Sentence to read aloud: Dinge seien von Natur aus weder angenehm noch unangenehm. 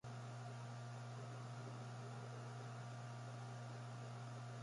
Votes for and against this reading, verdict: 0, 2, rejected